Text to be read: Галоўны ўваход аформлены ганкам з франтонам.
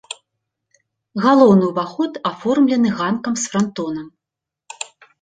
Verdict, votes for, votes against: accepted, 3, 0